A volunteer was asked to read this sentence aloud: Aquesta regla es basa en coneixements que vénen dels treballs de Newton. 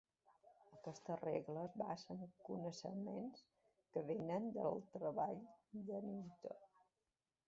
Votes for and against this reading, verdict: 2, 3, rejected